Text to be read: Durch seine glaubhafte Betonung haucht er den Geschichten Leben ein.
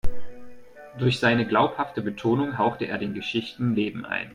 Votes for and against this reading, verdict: 2, 1, accepted